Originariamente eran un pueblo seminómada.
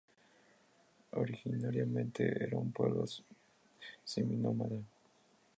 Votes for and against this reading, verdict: 0, 2, rejected